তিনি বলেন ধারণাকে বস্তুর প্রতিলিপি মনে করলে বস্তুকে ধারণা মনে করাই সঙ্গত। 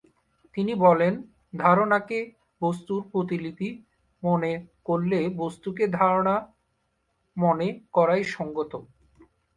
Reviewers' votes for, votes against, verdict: 3, 0, accepted